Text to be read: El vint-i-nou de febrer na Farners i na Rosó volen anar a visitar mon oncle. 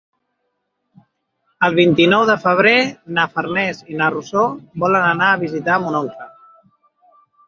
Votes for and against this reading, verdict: 4, 0, accepted